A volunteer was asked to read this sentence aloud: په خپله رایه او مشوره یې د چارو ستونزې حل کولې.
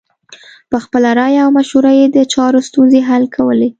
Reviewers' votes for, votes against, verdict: 1, 2, rejected